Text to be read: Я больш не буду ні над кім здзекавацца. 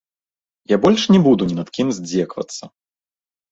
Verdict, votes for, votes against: rejected, 2, 3